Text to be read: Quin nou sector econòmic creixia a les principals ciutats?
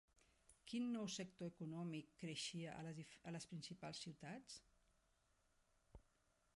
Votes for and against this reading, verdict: 0, 2, rejected